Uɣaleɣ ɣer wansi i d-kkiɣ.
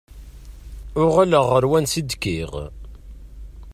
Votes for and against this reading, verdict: 2, 0, accepted